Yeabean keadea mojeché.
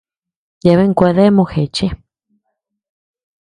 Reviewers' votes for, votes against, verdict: 1, 2, rejected